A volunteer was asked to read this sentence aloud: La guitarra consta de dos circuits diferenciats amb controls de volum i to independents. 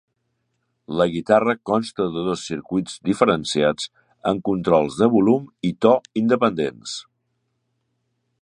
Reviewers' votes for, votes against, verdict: 2, 0, accepted